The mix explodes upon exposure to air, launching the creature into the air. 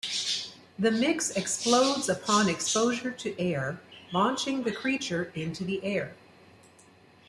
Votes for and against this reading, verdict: 2, 0, accepted